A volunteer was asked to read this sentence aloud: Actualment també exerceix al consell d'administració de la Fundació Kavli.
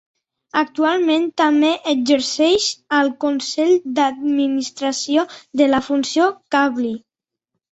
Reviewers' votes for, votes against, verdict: 1, 2, rejected